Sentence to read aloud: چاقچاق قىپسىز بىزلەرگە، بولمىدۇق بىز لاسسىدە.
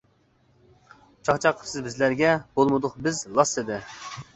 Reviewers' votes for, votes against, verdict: 2, 1, accepted